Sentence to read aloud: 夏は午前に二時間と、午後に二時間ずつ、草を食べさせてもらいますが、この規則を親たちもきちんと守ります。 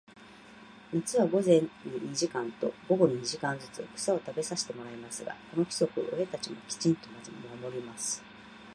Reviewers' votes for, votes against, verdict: 1, 2, rejected